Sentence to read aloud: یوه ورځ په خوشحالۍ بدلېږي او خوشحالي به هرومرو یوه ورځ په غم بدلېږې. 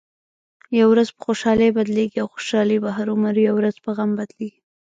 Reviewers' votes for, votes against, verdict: 1, 2, rejected